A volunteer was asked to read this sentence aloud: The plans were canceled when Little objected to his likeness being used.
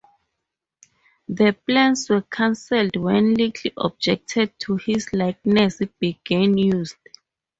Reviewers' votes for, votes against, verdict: 0, 2, rejected